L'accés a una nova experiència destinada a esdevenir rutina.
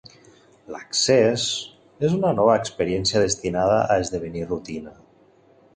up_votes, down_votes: 0, 2